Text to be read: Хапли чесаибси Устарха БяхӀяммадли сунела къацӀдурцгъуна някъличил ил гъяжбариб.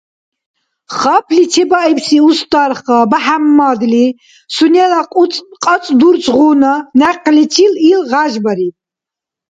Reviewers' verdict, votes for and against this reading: rejected, 1, 2